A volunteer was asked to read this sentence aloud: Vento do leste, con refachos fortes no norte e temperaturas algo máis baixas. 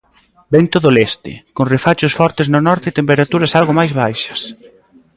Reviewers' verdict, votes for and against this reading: accepted, 2, 0